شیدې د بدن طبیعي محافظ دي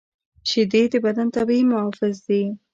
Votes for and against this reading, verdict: 2, 0, accepted